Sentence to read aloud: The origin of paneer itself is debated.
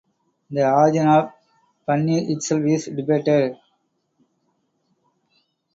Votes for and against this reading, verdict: 0, 4, rejected